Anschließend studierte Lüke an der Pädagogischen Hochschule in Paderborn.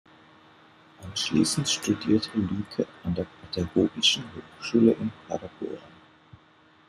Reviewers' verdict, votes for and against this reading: rejected, 1, 2